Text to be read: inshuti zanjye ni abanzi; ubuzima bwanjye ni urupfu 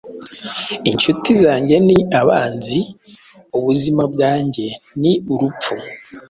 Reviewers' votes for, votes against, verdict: 2, 0, accepted